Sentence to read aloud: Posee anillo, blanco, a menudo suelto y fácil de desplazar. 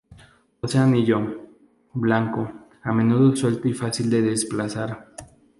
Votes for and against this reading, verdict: 2, 0, accepted